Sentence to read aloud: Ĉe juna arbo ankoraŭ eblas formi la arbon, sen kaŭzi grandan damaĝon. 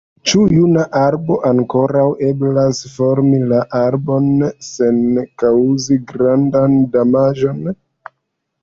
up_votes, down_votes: 1, 2